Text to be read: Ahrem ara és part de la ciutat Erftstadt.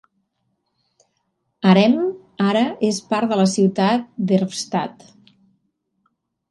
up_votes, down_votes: 3, 1